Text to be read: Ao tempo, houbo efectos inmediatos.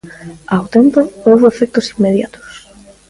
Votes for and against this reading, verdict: 0, 2, rejected